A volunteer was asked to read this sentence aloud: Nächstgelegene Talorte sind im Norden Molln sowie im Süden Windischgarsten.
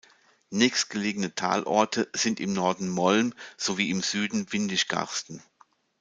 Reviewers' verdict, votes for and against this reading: accepted, 2, 0